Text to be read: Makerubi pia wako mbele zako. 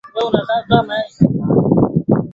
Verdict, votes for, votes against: rejected, 0, 2